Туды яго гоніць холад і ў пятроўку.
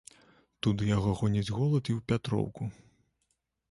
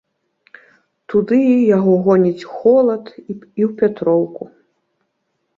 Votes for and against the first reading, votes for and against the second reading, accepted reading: 2, 1, 1, 2, first